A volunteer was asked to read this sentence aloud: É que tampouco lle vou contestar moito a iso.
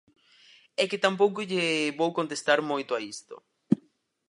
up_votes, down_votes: 0, 4